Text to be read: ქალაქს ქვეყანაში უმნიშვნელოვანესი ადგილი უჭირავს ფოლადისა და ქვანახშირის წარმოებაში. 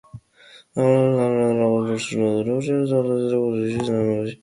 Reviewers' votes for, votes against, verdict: 0, 2, rejected